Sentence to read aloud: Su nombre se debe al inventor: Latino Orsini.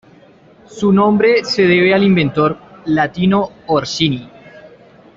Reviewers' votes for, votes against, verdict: 2, 0, accepted